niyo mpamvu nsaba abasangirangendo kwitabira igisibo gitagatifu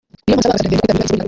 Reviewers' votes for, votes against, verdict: 0, 2, rejected